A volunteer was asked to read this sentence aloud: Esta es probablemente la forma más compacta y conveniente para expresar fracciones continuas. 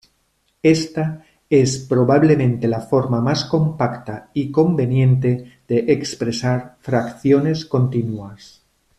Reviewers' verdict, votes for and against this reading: rejected, 0, 2